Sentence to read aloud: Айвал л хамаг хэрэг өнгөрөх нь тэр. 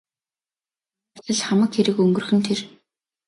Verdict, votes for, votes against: rejected, 0, 2